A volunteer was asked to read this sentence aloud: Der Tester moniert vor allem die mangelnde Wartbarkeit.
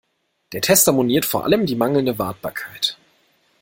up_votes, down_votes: 2, 0